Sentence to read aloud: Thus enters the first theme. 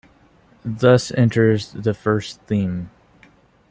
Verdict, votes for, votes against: accepted, 2, 1